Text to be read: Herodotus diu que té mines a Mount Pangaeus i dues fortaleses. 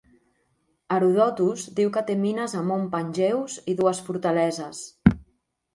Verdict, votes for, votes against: accepted, 2, 0